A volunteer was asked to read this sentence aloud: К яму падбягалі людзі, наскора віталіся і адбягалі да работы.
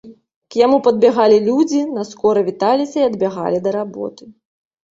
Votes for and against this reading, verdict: 2, 0, accepted